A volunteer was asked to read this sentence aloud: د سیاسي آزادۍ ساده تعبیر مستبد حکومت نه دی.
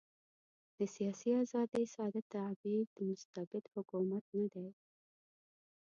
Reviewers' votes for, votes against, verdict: 1, 2, rejected